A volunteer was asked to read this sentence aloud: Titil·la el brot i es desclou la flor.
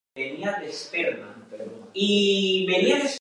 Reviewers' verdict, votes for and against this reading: rejected, 1, 2